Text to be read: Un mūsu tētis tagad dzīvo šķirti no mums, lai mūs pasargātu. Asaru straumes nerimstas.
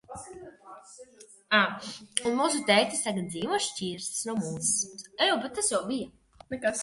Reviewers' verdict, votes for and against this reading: rejected, 0, 2